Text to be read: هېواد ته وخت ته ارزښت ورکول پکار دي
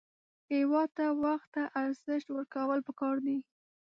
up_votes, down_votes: 2, 0